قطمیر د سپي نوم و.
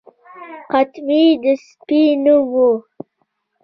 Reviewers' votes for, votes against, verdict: 2, 1, accepted